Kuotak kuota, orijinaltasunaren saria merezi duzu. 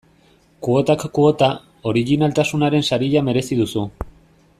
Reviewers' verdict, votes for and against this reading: accepted, 2, 0